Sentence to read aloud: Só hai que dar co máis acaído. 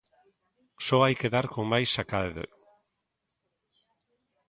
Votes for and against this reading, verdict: 0, 2, rejected